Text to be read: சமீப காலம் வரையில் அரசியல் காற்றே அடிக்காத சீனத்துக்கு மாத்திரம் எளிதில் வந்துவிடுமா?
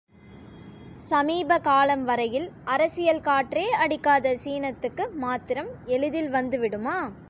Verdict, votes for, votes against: accepted, 2, 0